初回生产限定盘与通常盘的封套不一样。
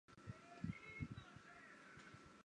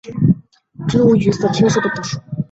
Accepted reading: second